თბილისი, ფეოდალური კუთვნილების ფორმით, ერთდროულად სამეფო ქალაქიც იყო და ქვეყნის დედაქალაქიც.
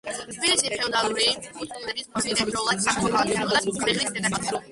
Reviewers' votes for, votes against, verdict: 2, 1, accepted